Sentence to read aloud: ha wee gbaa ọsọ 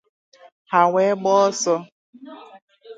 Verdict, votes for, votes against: accepted, 2, 0